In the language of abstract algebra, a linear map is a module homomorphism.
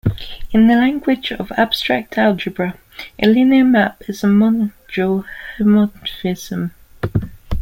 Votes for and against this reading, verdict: 0, 2, rejected